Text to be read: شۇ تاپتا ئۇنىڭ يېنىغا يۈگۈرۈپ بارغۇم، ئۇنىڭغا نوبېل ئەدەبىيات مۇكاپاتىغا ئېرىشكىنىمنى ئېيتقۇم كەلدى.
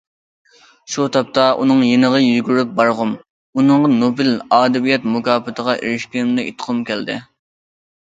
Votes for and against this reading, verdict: 0, 2, rejected